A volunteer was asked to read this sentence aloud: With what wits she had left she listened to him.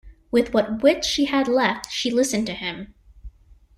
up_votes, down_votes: 2, 0